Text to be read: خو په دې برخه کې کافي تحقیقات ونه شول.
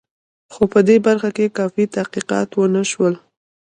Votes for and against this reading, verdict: 1, 2, rejected